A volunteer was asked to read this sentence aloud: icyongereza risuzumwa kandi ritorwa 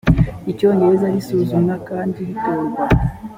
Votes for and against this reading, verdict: 3, 0, accepted